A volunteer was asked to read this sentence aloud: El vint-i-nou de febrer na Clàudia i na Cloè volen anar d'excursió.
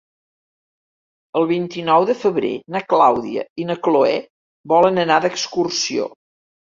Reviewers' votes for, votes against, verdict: 4, 0, accepted